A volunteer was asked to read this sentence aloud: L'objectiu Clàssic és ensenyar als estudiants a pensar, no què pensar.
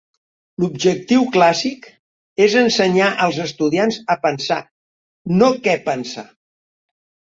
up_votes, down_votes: 3, 0